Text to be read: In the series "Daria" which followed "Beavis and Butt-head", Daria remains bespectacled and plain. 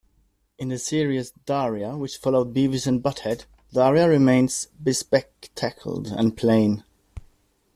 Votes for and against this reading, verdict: 2, 1, accepted